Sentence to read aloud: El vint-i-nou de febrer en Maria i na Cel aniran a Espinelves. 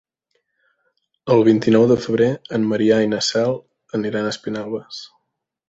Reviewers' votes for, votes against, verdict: 0, 2, rejected